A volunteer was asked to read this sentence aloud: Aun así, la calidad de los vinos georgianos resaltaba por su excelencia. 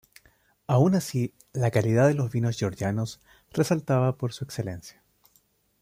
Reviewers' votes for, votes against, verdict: 1, 2, rejected